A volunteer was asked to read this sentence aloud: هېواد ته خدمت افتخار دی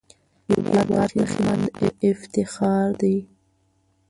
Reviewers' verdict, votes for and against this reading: rejected, 1, 2